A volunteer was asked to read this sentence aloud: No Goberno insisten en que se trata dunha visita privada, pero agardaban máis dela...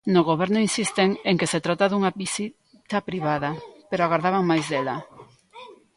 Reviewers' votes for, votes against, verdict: 1, 2, rejected